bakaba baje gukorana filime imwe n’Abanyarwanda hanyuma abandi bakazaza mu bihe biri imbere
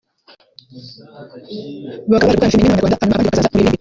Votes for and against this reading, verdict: 0, 2, rejected